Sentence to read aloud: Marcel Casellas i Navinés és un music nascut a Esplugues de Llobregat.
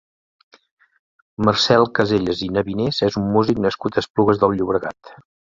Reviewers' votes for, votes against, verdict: 1, 2, rejected